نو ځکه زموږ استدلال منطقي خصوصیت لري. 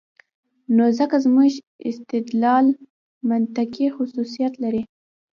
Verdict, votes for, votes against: rejected, 0, 2